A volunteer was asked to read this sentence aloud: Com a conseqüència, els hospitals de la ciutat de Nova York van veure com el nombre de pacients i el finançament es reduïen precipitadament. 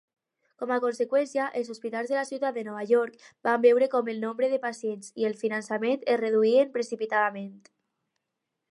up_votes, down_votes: 4, 0